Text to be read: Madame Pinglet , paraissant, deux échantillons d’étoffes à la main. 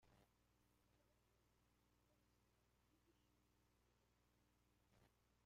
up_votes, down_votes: 0, 2